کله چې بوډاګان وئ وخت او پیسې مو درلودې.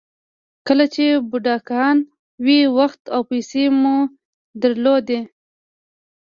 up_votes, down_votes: 1, 2